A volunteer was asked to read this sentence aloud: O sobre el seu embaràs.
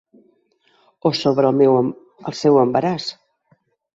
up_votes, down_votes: 0, 2